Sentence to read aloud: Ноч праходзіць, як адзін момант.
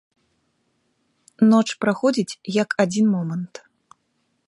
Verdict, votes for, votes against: accepted, 3, 0